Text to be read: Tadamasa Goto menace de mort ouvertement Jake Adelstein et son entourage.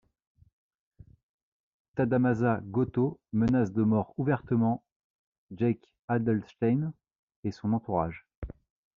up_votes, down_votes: 2, 0